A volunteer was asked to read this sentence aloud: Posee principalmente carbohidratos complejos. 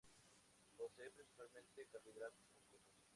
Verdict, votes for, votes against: accepted, 2, 0